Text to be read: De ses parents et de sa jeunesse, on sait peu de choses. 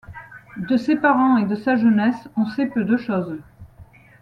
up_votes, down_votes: 2, 1